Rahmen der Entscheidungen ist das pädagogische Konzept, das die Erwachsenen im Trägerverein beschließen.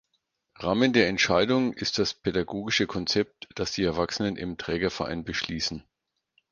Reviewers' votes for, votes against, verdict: 4, 0, accepted